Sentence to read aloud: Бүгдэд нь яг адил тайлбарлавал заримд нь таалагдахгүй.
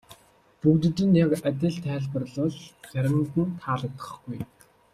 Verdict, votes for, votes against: accepted, 2, 0